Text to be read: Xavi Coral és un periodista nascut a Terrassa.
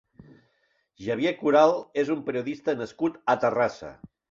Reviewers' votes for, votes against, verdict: 1, 2, rejected